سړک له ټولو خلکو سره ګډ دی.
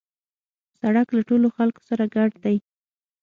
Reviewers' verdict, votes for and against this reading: accepted, 6, 0